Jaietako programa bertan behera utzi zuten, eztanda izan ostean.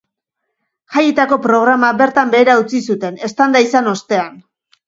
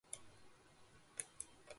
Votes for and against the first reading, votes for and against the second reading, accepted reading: 2, 0, 0, 2, first